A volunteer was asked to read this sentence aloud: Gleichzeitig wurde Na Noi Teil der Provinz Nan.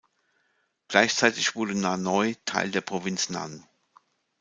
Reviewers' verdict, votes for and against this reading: accepted, 2, 0